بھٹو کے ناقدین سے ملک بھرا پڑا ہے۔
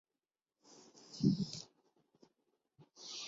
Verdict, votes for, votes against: rejected, 1, 2